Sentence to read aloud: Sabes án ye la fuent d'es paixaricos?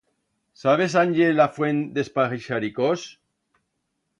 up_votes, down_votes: 1, 2